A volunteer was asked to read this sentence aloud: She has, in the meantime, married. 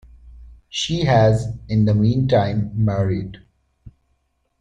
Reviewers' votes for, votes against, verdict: 7, 0, accepted